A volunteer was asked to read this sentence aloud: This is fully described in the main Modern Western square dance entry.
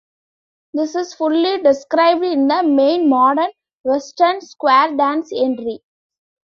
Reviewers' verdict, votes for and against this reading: accepted, 2, 0